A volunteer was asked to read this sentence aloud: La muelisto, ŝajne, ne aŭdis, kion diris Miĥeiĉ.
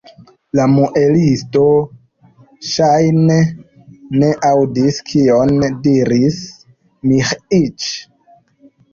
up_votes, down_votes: 1, 2